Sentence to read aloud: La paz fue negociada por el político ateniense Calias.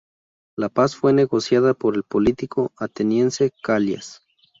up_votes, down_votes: 2, 0